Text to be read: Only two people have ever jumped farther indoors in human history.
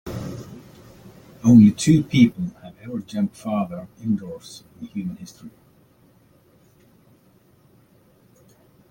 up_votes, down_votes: 2, 1